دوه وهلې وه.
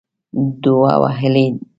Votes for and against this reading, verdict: 1, 2, rejected